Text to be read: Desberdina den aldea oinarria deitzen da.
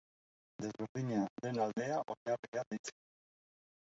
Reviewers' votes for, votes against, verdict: 0, 2, rejected